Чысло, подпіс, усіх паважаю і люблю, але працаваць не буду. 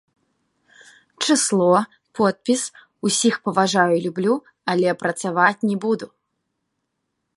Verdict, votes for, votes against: accepted, 2, 0